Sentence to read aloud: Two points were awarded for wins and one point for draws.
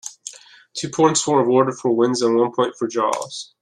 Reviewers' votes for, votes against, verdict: 2, 0, accepted